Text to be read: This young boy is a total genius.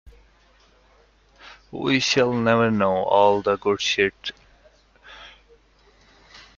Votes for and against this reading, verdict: 0, 2, rejected